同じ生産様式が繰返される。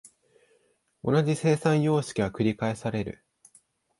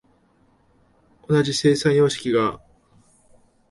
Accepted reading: first